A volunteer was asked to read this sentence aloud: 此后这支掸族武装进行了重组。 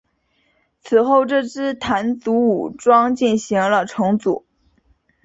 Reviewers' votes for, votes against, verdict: 2, 0, accepted